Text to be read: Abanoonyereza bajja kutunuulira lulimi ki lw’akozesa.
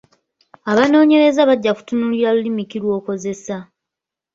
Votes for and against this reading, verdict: 1, 2, rejected